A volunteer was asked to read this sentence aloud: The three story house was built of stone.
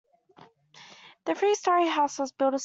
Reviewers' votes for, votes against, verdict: 1, 2, rejected